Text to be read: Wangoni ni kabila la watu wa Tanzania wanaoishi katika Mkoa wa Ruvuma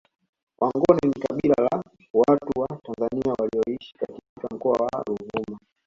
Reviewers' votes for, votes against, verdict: 0, 2, rejected